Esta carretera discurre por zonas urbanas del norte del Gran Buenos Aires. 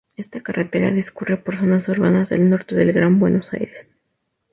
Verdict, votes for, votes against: accepted, 2, 0